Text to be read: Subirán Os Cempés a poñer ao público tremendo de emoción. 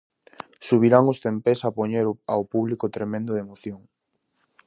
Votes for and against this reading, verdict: 0, 2, rejected